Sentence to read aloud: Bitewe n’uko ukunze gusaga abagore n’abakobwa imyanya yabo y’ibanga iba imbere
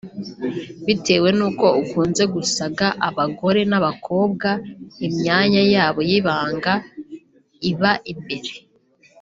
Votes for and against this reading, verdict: 1, 2, rejected